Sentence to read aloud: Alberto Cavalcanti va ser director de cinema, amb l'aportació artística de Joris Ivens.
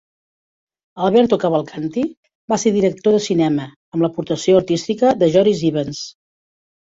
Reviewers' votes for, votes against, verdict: 2, 0, accepted